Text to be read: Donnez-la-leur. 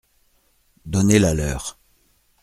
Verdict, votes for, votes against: accepted, 2, 0